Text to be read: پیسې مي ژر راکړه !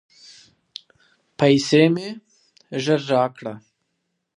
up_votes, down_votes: 2, 0